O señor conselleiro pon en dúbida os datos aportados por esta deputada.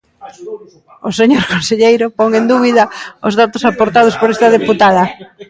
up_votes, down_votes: 0, 2